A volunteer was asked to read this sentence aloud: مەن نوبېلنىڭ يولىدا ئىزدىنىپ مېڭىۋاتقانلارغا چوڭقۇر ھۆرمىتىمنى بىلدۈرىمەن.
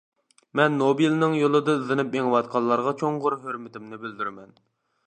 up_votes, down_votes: 1, 2